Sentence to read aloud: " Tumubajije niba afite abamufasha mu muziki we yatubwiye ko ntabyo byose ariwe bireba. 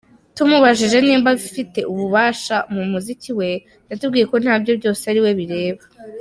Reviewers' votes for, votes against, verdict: 0, 2, rejected